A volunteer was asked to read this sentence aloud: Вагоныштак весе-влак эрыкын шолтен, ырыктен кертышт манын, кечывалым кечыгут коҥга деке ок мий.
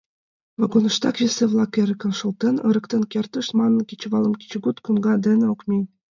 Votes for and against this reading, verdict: 2, 0, accepted